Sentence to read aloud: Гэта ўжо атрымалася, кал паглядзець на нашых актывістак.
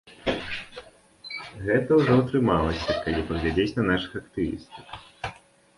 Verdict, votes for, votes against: accepted, 2, 0